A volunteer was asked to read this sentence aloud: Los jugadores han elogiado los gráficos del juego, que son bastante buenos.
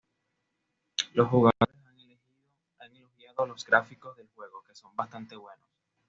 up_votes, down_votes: 2, 0